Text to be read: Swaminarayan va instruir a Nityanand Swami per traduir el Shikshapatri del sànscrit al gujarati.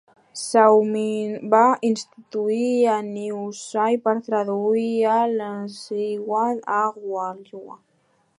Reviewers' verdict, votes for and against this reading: rejected, 1, 2